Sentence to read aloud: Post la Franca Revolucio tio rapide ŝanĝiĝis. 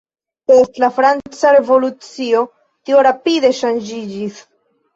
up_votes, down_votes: 0, 2